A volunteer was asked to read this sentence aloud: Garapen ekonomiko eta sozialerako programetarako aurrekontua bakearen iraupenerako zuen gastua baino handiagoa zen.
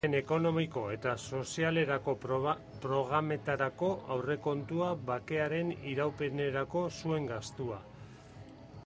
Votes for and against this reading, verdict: 0, 4, rejected